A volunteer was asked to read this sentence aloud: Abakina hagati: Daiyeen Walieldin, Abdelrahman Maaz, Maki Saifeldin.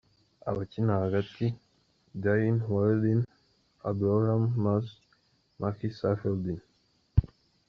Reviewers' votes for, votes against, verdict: 3, 1, accepted